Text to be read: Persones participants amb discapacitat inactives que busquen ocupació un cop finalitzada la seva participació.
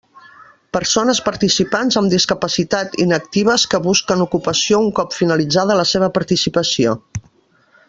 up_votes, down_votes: 3, 0